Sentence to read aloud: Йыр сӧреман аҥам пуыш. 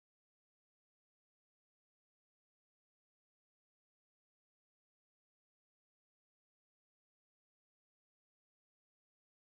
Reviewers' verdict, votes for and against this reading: rejected, 0, 2